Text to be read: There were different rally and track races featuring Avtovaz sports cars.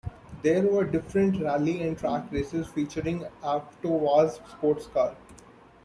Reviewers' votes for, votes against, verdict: 2, 0, accepted